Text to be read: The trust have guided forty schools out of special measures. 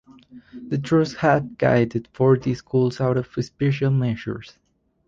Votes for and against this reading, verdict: 0, 4, rejected